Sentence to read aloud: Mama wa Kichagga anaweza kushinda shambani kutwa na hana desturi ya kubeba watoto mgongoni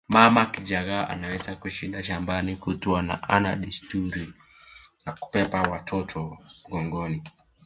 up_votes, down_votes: 2, 0